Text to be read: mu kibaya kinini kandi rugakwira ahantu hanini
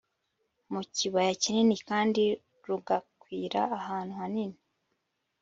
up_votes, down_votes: 2, 0